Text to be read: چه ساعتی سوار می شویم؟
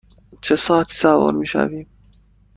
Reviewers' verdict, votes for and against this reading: accepted, 2, 1